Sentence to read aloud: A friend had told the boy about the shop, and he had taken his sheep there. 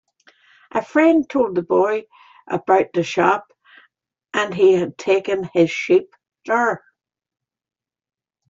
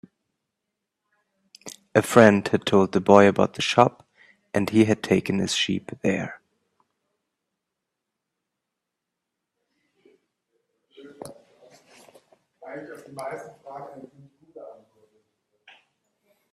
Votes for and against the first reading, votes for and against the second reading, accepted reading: 0, 2, 2, 1, second